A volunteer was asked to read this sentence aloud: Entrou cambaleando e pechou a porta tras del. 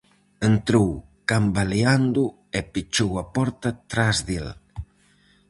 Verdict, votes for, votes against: accepted, 4, 0